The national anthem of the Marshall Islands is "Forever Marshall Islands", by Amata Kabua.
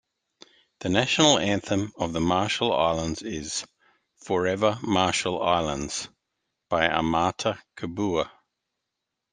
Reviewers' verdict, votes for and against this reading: accepted, 2, 0